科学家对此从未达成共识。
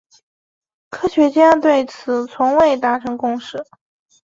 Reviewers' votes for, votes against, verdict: 2, 0, accepted